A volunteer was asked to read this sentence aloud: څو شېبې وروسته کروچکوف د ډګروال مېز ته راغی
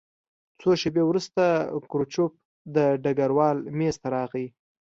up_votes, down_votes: 2, 1